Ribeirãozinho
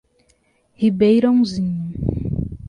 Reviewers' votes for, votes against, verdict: 2, 0, accepted